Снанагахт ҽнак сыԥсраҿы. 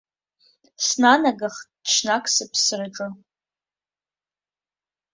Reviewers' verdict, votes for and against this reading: accepted, 2, 1